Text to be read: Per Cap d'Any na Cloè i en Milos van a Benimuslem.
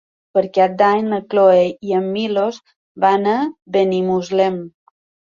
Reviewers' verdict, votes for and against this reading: accepted, 3, 0